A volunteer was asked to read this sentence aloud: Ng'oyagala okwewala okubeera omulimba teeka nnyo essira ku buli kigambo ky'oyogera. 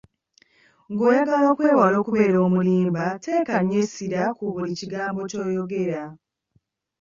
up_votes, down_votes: 0, 2